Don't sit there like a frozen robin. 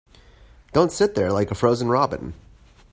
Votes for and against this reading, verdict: 2, 0, accepted